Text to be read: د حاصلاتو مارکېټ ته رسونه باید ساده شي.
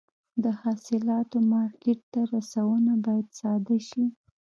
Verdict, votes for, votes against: rejected, 1, 2